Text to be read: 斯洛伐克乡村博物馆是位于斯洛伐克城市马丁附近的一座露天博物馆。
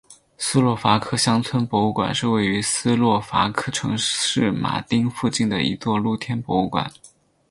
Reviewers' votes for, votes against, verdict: 6, 0, accepted